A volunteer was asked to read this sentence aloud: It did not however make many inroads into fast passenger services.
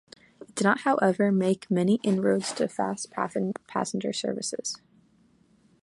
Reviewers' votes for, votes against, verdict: 1, 2, rejected